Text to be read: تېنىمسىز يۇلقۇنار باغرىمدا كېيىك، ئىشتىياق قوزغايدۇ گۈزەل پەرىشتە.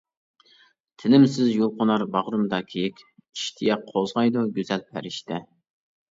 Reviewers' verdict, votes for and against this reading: rejected, 0, 2